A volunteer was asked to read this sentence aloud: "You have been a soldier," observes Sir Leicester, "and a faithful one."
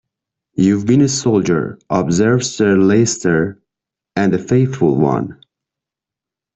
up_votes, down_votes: 0, 2